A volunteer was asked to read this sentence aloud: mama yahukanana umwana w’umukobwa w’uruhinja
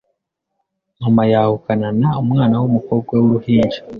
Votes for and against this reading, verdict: 2, 0, accepted